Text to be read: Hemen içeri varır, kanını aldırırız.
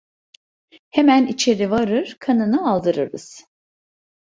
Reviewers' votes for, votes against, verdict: 2, 0, accepted